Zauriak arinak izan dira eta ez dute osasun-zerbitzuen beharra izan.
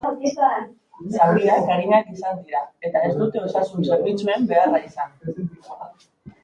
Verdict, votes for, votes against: rejected, 1, 3